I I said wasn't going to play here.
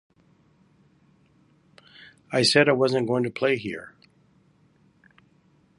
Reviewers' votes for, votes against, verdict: 2, 0, accepted